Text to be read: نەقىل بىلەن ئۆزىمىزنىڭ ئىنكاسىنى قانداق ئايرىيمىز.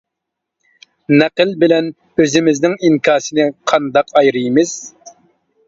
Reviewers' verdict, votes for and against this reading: accepted, 3, 0